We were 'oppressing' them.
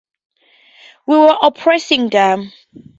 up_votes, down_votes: 4, 0